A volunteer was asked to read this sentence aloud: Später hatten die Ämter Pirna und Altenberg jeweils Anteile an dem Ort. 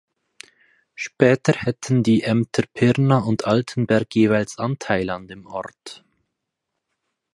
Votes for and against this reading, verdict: 2, 4, rejected